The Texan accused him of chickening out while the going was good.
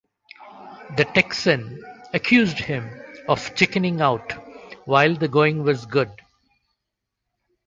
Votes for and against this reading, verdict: 2, 0, accepted